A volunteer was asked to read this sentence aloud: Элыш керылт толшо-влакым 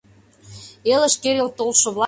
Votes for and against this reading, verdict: 1, 2, rejected